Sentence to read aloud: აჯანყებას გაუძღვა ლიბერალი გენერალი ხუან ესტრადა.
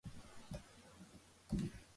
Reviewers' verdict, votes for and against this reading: rejected, 0, 2